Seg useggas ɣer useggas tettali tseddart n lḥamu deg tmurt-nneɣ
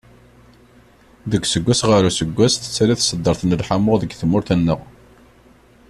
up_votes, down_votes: 1, 2